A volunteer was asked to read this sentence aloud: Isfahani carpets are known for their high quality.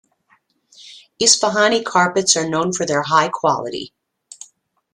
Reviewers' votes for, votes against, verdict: 2, 0, accepted